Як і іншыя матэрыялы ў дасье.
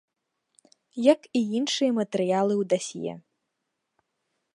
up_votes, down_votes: 2, 0